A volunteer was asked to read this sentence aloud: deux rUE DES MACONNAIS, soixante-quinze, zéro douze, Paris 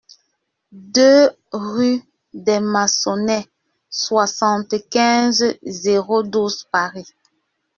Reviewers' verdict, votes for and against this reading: rejected, 0, 2